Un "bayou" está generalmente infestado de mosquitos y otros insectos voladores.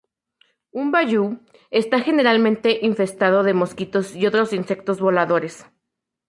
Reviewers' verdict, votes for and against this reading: accepted, 4, 0